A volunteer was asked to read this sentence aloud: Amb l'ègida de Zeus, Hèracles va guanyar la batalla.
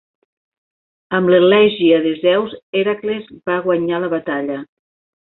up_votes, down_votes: 1, 2